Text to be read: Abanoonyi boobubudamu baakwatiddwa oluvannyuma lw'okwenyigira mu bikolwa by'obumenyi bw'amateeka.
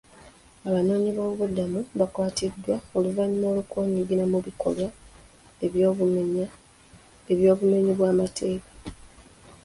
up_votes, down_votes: 0, 2